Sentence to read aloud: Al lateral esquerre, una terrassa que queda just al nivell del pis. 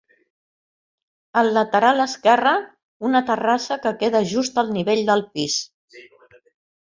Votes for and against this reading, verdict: 4, 0, accepted